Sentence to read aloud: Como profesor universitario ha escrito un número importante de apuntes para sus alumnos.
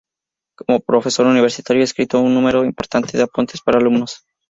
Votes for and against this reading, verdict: 0, 2, rejected